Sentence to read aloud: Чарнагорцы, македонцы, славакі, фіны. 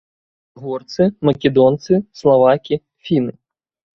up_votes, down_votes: 1, 2